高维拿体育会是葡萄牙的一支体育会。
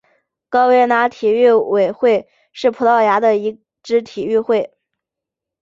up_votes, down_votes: 4, 1